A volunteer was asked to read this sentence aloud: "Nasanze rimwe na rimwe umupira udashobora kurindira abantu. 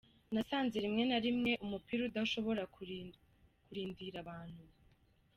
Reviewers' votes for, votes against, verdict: 0, 2, rejected